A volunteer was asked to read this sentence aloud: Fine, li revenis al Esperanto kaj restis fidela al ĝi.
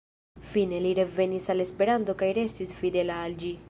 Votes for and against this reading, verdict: 2, 0, accepted